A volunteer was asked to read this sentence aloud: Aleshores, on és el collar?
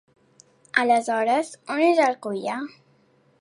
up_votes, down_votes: 2, 0